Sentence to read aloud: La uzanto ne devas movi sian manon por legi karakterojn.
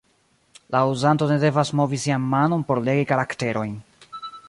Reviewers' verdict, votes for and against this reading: rejected, 1, 2